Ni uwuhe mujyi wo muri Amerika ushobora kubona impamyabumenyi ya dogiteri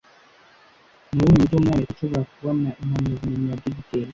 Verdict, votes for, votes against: rejected, 1, 2